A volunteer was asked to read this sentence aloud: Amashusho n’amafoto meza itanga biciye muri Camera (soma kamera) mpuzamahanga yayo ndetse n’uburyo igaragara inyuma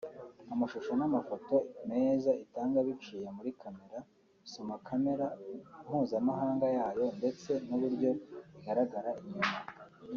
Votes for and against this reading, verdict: 4, 0, accepted